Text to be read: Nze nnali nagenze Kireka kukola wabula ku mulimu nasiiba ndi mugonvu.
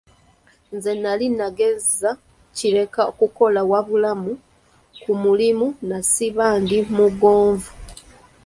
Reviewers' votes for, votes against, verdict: 0, 2, rejected